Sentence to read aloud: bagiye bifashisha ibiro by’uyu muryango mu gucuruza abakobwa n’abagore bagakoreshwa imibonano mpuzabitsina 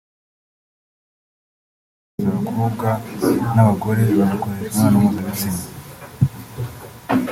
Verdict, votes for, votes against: rejected, 0, 2